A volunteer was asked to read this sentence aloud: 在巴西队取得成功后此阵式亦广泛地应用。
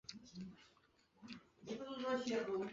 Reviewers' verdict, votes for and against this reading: rejected, 1, 2